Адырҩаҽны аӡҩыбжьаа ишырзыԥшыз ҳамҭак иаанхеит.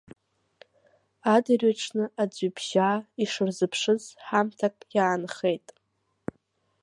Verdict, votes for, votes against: accepted, 2, 0